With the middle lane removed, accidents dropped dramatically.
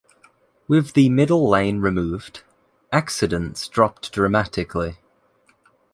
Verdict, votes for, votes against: accepted, 2, 0